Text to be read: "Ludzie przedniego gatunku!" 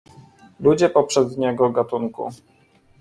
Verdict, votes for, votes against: rejected, 0, 2